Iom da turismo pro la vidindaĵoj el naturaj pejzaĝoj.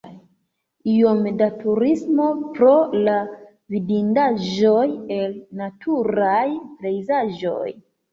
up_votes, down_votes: 2, 0